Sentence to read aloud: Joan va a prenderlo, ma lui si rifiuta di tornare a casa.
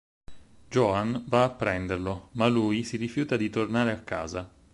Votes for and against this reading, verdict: 6, 0, accepted